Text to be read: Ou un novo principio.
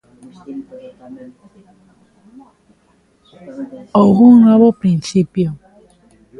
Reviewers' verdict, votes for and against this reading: rejected, 0, 2